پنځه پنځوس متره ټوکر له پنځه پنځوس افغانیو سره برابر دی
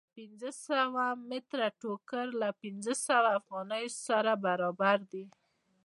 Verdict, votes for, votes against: accepted, 2, 0